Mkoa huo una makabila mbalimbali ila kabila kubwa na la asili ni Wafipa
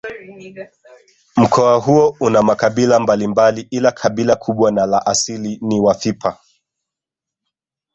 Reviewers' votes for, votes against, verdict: 0, 2, rejected